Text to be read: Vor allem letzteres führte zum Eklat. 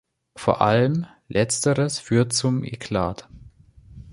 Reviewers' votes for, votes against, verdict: 0, 2, rejected